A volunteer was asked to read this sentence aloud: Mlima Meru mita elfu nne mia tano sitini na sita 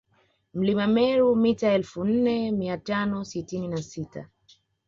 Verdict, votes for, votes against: accepted, 2, 0